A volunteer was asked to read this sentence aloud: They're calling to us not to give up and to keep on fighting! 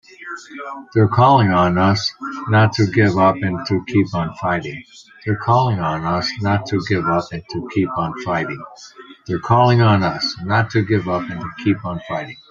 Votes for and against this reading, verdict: 0, 2, rejected